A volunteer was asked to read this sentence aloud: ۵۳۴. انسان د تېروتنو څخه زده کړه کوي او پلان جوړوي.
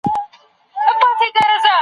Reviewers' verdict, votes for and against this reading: rejected, 0, 2